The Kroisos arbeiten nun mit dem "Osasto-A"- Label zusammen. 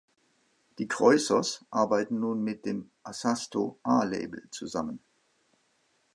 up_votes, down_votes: 0, 2